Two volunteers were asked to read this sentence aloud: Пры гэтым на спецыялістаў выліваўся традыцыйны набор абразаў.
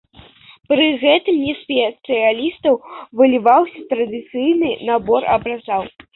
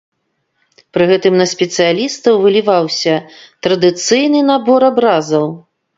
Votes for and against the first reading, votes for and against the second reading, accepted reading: 0, 2, 2, 0, second